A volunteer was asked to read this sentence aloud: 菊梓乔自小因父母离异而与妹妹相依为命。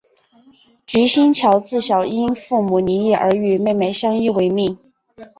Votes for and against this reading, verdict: 0, 2, rejected